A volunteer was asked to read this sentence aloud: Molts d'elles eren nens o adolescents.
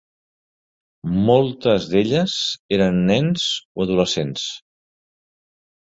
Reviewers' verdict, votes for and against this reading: rejected, 1, 2